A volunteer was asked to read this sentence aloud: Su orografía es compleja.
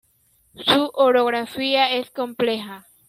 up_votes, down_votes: 1, 2